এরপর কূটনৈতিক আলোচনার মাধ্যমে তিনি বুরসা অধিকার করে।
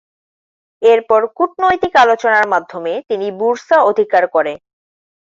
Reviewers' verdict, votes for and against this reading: accepted, 2, 0